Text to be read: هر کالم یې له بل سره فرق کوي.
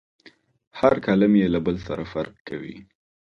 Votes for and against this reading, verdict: 2, 0, accepted